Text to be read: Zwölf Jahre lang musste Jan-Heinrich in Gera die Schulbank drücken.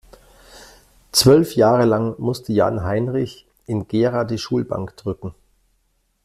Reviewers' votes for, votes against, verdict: 2, 0, accepted